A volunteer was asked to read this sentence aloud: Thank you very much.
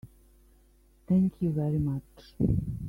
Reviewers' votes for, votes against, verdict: 2, 1, accepted